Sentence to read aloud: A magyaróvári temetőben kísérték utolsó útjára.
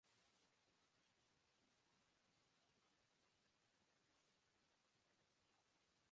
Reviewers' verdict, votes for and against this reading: rejected, 1, 2